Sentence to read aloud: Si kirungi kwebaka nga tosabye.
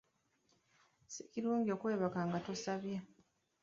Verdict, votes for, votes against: rejected, 1, 2